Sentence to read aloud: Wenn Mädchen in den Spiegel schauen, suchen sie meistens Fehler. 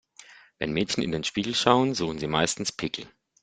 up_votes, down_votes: 0, 2